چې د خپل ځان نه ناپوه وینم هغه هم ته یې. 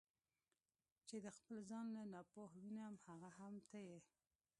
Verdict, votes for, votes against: rejected, 1, 2